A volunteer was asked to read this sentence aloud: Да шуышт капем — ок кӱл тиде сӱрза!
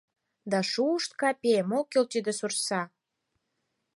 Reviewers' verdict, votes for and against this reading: rejected, 0, 4